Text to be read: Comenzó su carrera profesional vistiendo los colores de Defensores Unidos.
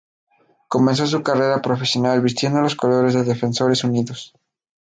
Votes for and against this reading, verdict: 2, 2, rejected